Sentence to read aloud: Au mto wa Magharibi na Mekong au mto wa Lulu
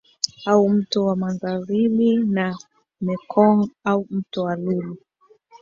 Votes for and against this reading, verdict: 1, 2, rejected